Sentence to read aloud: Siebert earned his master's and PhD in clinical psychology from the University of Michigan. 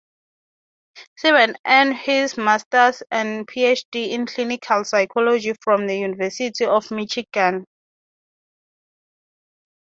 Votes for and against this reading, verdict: 3, 0, accepted